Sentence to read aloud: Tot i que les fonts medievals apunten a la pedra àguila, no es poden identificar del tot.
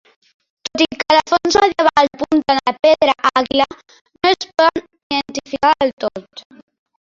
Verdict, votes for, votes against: rejected, 0, 2